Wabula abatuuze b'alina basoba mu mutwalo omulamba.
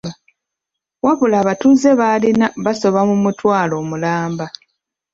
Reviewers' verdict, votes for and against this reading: accepted, 2, 1